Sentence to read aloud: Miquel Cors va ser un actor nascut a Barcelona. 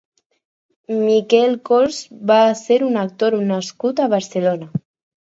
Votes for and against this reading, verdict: 2, 0, accepted